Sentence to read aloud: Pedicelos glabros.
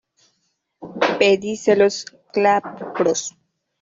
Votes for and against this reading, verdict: 0, 2, rejected